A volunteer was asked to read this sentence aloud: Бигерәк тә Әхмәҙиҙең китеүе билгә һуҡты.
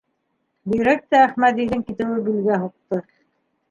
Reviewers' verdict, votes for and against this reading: rejected, 0, 2